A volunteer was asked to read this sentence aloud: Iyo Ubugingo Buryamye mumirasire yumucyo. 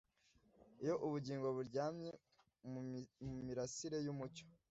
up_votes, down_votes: 0, 2